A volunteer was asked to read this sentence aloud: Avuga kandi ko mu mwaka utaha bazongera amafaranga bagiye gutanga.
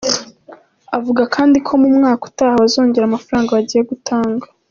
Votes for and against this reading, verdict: 2, 0, accepted